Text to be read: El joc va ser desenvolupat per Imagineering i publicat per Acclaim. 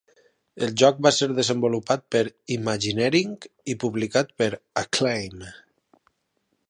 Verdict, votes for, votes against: accepted, 4, 0